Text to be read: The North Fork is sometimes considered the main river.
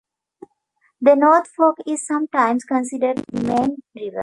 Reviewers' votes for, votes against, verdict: 2, 1, accepted